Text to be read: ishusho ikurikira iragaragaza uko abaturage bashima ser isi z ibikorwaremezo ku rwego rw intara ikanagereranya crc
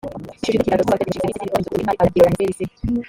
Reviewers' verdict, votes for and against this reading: rejected, 1, 2